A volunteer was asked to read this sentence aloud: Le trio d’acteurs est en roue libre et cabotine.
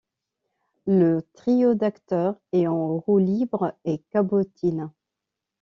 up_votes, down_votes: 2, 0